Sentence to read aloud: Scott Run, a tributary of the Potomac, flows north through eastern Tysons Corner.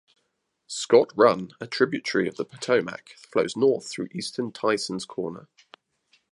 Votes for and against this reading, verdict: 2, 0, accepted